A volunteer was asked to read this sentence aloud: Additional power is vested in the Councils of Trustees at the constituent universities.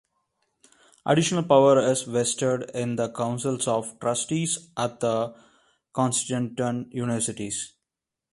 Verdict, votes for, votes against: rejected, 1, 2